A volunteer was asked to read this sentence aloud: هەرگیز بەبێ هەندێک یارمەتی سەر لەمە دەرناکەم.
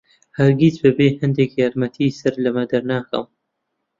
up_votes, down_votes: 2, 0